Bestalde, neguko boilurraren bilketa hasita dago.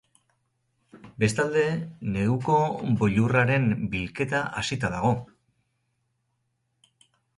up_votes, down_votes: 4, 0